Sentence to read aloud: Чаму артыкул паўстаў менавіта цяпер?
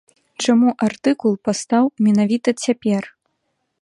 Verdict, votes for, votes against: accepted, 2, 1